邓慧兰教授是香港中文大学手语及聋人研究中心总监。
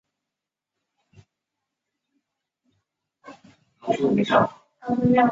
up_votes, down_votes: 0, 3